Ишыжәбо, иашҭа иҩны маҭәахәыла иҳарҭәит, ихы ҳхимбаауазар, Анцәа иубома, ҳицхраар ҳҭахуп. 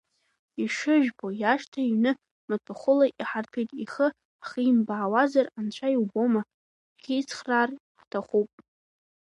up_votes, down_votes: 1, 2